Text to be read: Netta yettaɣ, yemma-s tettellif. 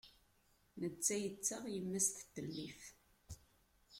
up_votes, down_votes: 0, 2